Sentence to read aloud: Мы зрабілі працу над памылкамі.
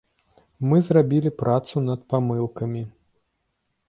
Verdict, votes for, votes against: accepted, 3, 0